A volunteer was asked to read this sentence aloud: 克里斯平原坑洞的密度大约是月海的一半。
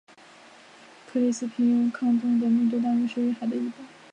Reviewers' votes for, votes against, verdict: 2, 6, rejected